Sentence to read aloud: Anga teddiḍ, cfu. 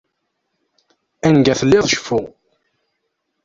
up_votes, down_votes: 0, 2